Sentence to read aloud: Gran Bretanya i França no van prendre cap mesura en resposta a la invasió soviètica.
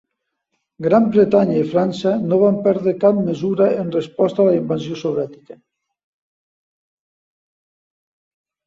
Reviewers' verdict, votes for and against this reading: rejected, 0, 2